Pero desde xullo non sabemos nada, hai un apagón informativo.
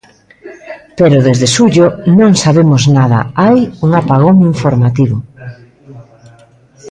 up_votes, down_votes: 1, 2